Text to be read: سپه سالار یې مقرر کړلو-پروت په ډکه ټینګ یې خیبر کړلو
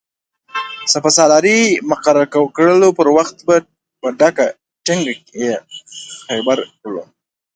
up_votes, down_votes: 0, 2